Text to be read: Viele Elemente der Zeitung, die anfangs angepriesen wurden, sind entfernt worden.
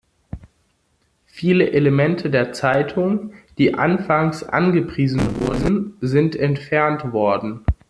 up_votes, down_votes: 0, 2